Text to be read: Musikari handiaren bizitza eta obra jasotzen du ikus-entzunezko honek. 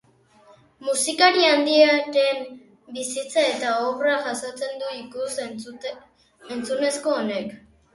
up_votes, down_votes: 0, 2